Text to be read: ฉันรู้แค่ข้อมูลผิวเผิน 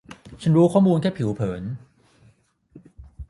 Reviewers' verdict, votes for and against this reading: rejected, 0, 3